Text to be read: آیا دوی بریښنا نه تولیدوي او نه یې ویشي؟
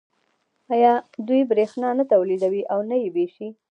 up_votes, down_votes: 0, 2